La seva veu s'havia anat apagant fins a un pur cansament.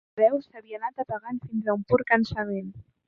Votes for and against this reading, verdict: 1, 2, rejected